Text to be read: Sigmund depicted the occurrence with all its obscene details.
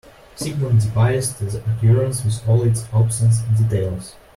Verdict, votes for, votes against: rejected, 1, 2